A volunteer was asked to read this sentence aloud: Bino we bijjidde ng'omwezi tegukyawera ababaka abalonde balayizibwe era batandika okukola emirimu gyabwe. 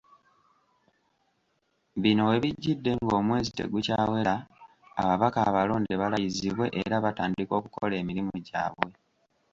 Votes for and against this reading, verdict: 2, 0, accepted